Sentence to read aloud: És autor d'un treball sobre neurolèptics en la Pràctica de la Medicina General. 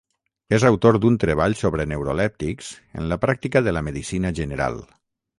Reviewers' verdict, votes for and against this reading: accepted, 3, 0